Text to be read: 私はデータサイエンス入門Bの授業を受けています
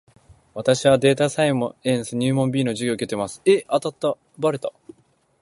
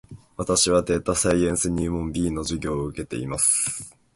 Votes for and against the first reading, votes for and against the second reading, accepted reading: 1, 2, 2, 0, second